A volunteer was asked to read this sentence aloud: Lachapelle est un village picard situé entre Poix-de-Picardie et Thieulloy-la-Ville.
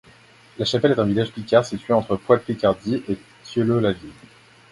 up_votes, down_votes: 2, 0